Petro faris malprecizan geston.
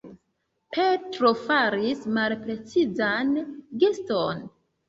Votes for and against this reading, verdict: 0, 2, rejected